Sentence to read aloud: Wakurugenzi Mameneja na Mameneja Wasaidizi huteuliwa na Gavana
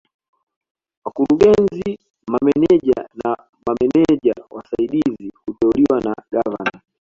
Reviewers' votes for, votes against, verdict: 2, 1, accepted